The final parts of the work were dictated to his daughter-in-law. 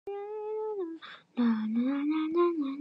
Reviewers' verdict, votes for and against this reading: rejected, 0, 2